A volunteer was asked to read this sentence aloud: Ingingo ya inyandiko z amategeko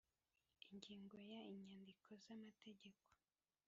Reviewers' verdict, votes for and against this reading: rejected, 1, 2